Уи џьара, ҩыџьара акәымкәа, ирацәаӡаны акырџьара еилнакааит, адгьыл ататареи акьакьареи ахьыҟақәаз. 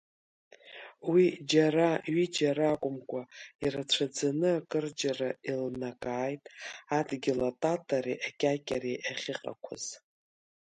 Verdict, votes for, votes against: accepted, 2, 0